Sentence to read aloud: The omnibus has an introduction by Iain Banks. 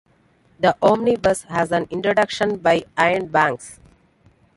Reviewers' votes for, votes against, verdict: 3, 2, accepted